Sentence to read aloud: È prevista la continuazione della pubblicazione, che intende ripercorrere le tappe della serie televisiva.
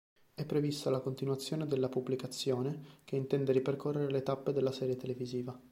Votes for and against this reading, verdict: 2, 0, accepted